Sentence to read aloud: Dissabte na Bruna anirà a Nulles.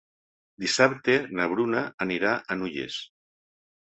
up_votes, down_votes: 2, 0